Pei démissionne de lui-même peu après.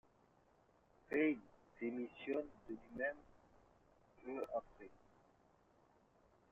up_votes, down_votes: 2, 1